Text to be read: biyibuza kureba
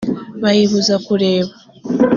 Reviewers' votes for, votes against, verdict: 1, 2, rejected